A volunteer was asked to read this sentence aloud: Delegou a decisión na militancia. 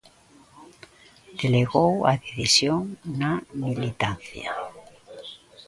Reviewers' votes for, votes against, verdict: 0, 2, rejected